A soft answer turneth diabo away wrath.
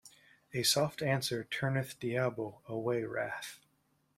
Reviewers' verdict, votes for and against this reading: accepted, 2, 0